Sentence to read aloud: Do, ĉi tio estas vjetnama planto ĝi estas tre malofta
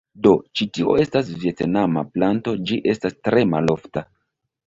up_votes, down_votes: 2, 1